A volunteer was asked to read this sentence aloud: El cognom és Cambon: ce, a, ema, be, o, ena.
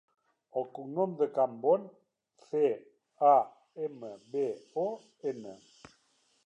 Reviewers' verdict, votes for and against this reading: rejected, 0, 2